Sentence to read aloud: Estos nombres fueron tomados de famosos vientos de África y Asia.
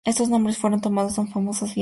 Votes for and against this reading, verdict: 0, 2, rejected